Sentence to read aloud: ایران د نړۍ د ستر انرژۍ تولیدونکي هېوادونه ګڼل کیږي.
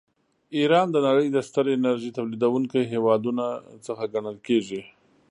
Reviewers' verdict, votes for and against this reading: rejected, 1, 2